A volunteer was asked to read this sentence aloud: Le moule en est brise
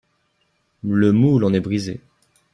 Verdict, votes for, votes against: accepted, 2, 0